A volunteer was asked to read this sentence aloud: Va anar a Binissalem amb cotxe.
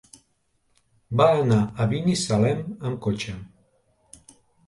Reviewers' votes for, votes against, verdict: 2, 0, accepted